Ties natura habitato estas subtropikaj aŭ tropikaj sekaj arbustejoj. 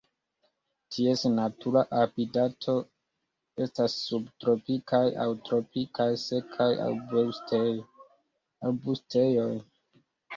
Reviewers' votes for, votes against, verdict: 2, 0, accepted